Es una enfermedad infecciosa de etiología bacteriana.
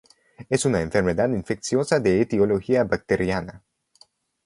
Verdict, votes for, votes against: accepted, 2, 0